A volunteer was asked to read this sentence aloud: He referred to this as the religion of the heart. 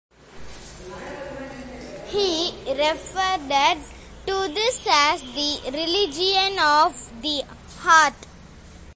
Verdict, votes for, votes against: rejected, 0, 2